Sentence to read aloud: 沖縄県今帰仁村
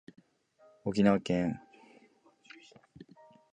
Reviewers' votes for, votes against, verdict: 0, 2, rejected